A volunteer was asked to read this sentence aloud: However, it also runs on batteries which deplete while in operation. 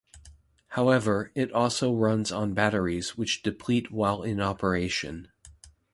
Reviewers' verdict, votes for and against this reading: accepted, 2, 0